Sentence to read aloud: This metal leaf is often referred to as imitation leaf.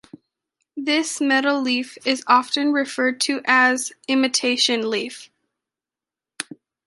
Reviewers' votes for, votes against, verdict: 2, 0, accepted